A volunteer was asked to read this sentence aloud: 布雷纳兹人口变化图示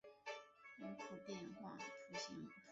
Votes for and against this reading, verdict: 1, 3, rejected